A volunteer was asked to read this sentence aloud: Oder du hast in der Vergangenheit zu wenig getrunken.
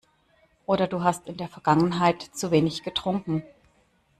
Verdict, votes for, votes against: accepted, 2, 0